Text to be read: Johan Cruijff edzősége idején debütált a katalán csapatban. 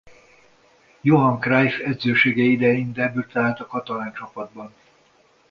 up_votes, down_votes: 2, 1